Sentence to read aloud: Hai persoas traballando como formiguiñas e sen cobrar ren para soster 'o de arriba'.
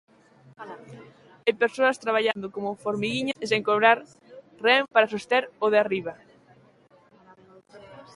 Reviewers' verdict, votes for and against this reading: accepted, 2, 1